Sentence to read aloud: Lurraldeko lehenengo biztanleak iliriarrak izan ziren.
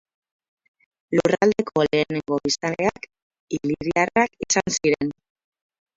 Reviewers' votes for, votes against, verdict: 0, 4, rejected